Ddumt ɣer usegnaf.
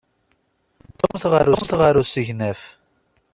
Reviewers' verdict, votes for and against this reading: rejected, 0, 2